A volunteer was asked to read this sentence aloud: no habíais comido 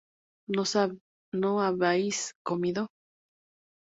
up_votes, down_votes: 0, 2